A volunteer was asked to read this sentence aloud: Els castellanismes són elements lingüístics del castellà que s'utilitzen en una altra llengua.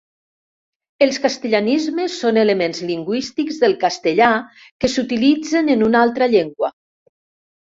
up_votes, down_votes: 3, 0